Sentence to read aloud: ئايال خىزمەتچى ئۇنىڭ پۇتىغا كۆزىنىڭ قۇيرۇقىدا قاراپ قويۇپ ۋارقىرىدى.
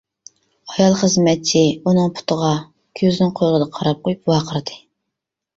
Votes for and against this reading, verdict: 0, 2, rejected